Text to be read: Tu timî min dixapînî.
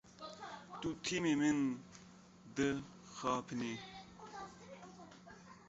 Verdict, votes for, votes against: rejected, 0, 2